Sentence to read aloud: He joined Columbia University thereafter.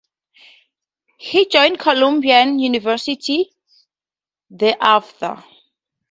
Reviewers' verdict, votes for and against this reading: rejected, 0, 4